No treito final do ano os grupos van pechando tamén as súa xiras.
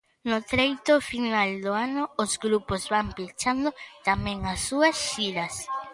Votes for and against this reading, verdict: 2, 0, accepted